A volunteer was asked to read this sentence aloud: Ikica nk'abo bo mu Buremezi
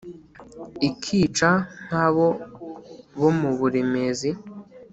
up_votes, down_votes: 2, 0